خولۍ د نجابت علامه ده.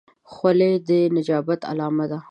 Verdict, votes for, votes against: accepted, 2, 0